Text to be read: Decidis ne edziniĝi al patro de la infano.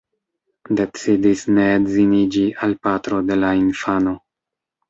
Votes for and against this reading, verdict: 2, 0, accepted